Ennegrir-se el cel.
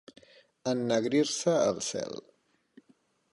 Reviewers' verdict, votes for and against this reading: accepted, 2, 0